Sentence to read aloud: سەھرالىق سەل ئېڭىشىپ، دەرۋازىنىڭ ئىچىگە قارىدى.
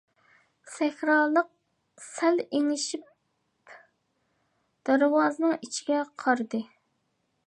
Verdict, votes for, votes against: accepted, 2, 0